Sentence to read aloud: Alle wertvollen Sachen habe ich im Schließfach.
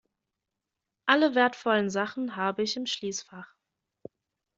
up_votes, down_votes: 2, 0